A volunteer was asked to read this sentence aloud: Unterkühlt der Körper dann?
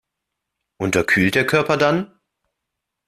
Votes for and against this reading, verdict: 2, 0, accepted